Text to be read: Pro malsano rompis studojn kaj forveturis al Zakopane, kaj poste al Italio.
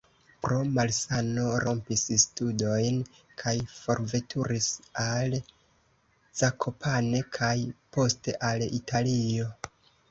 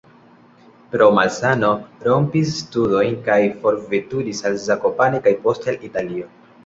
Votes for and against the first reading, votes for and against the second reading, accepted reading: 0, 2, 2, 0, second